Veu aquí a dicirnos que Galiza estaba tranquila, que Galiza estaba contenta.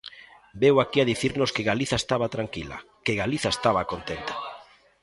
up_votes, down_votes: 1, 2